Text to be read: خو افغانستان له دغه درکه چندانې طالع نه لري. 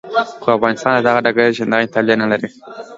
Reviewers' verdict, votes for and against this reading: rejected, 0, 2